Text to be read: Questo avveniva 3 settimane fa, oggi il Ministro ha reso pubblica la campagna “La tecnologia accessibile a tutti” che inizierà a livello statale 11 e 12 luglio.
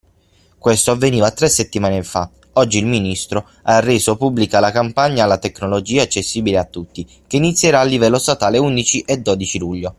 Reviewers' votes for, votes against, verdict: 0, 2, rejected